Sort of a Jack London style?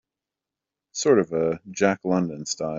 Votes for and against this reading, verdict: 2, 1, accepted